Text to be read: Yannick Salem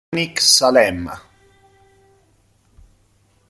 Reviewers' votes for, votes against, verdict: 1, 2, rejected